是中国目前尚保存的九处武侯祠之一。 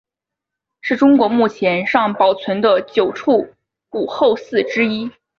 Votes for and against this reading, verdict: 2, 0, accepted